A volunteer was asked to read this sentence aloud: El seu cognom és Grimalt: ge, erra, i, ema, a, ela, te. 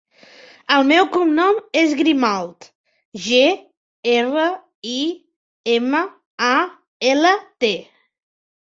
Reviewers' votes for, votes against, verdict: 0, 2, rejected